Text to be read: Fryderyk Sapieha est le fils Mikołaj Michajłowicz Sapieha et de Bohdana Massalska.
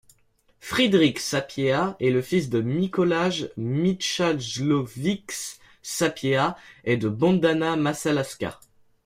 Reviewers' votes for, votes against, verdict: 1, 2, rejected